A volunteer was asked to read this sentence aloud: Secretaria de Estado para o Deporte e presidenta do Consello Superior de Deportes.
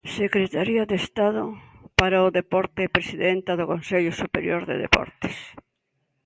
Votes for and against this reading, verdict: 2, 0, accepted